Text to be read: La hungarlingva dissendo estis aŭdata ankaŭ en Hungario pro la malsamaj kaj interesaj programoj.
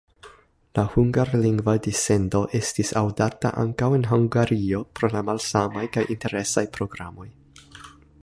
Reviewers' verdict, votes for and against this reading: rejected, 1, 2